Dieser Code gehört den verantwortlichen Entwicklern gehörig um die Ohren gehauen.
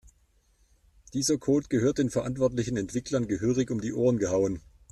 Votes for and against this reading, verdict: 2, 0, accepted